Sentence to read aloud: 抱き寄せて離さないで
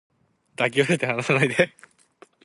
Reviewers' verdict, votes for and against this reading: rejected, 2, 4